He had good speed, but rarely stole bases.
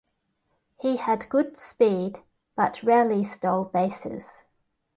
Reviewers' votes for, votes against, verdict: 2, 0, accepted